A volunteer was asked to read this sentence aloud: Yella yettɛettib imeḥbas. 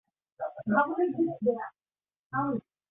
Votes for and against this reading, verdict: 0, 2, rejected